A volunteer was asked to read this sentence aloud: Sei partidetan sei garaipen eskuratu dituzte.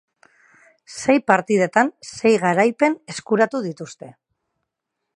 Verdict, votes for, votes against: rejected, 2, 2